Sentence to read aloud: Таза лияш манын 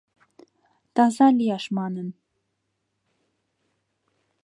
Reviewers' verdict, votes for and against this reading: accepted, 2, 0